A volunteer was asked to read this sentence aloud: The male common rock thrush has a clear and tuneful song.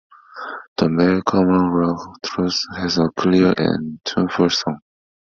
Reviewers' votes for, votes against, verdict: 0, 2, rejected